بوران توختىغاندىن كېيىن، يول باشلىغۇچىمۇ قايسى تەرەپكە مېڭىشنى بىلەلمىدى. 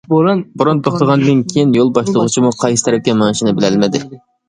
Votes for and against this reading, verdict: 0, 2, rejected